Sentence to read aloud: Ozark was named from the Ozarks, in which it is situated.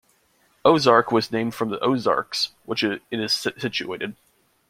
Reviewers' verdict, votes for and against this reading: rejected, 0, 2